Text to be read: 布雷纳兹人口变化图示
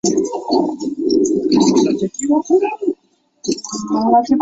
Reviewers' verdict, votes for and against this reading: rejected, 0, 4